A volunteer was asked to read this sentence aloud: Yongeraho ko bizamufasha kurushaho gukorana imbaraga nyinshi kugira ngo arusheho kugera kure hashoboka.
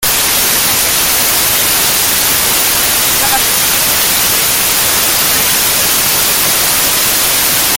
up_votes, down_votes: 0, 3